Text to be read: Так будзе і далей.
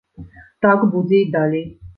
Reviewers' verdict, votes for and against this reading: rejected, 1, 2